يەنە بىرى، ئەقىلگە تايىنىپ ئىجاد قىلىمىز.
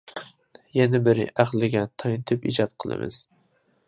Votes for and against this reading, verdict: 0, 2, rejected